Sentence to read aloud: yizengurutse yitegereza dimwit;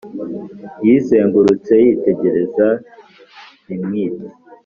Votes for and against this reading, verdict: 4, 0, accepted